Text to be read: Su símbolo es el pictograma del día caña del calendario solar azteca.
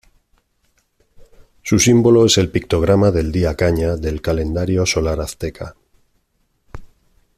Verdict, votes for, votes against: rejected, 1, 2